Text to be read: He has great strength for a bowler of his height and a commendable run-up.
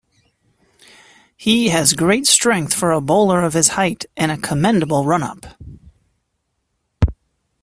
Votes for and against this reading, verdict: 2, 0, accepted